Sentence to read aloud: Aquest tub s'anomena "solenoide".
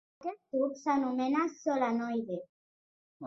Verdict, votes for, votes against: rejected, 0, 3